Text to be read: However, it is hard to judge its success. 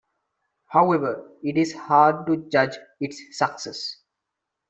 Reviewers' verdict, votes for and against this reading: rejected, 0, 2